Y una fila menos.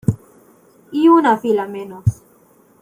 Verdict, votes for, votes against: accepted, 2, 0